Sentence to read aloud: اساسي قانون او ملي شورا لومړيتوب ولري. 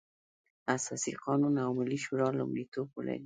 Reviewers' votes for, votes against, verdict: 1, 2, rejected